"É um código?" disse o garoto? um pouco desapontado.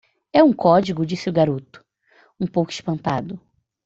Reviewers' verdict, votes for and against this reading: rejected, 0, 2